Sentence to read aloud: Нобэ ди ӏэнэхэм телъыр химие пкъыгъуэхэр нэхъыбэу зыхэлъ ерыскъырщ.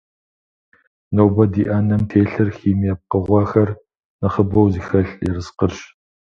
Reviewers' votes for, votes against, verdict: 0, 2, rejected